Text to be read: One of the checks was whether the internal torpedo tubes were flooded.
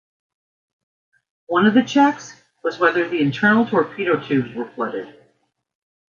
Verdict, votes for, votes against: accepted, 2, 0